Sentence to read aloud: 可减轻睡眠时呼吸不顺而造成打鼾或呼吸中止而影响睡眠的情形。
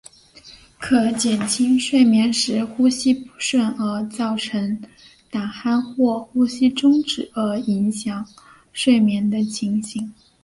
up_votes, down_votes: 2, 1